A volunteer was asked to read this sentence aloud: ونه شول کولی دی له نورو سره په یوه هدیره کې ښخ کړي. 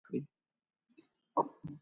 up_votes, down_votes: 0, 2